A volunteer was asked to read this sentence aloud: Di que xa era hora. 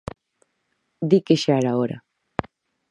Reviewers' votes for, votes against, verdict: 4, 0, accepted